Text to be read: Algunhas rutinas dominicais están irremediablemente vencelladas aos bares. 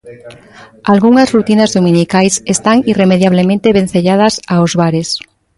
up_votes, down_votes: 2, 0